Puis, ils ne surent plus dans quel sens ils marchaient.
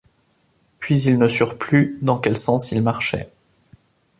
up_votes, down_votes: 2, 0